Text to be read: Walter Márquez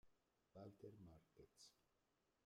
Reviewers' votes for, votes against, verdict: 0, 2, rejected